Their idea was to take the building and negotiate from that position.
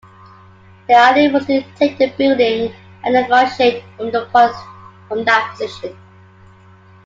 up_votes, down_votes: 0, 2